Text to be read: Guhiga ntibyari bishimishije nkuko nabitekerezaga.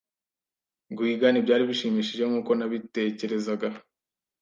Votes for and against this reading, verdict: 2, 0, accepted